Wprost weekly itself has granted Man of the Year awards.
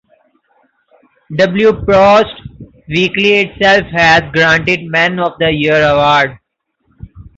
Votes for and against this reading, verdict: 0, 2, rejected